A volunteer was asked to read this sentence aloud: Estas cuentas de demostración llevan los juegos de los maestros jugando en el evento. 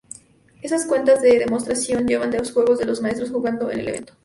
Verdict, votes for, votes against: rejected, 0, 2